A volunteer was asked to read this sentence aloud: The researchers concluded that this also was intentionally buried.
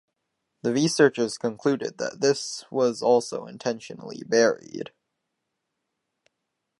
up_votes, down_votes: 4, 2